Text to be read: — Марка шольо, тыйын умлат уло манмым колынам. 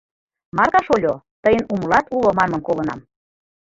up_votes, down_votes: 1, 2